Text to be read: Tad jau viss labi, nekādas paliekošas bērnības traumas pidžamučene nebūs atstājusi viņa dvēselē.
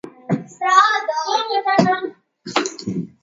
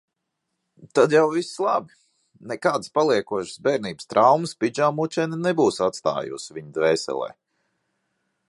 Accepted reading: second